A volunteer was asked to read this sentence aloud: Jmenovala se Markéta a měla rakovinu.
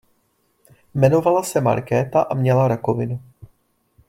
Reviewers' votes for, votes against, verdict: 2, 0, accepted